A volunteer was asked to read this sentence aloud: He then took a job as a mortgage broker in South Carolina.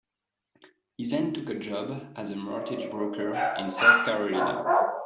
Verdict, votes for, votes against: accepted, 2, 1